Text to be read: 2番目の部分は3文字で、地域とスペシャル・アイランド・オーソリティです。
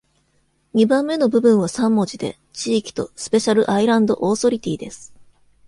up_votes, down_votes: 0, 2